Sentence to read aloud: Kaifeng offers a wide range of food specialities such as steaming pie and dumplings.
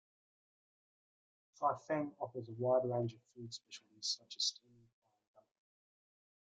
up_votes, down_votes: 0, 2